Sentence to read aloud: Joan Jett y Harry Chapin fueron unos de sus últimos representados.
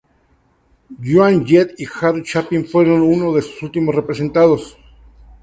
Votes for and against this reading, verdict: 4, 0, accepted